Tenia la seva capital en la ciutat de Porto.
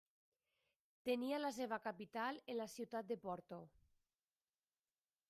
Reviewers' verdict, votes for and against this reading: rejected, 1, 2